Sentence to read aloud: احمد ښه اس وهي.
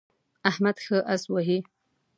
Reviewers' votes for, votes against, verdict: 2, 0, accepted